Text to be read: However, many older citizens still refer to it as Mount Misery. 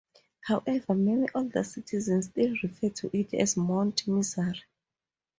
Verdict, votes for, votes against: accepted, 2, 0